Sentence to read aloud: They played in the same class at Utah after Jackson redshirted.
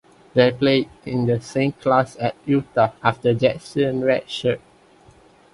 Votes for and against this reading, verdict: 0, 2, rejected